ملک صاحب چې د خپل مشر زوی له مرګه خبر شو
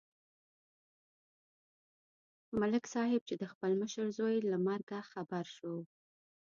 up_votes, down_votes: 0, 2